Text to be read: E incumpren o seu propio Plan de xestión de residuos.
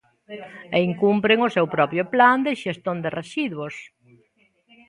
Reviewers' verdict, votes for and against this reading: rejected, 1, 2